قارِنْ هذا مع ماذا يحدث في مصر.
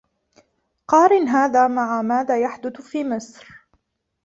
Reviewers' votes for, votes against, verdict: 2, 1, accepted